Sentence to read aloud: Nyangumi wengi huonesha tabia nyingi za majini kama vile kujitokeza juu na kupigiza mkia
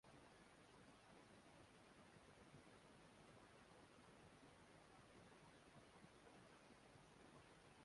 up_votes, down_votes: 0, 3